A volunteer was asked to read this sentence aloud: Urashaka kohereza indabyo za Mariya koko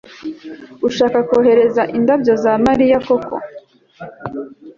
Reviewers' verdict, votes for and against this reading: accepted, 2, 0